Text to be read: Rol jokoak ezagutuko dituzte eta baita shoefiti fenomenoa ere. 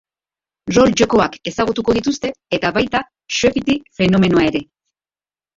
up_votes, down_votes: 0, 2